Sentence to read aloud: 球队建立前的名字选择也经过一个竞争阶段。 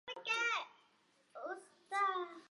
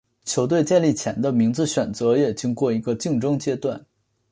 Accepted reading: second